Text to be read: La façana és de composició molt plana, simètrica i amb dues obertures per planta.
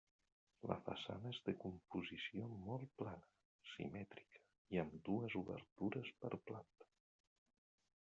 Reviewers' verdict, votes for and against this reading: rejected, 2, 3